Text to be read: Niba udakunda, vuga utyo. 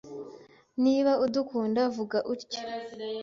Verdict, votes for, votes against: accepted, 2, 0